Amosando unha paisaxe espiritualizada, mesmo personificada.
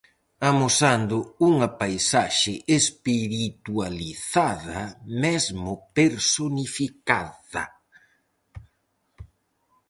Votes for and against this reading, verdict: 0, 4, rejected